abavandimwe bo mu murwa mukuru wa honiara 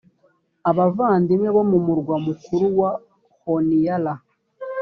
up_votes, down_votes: 2, 0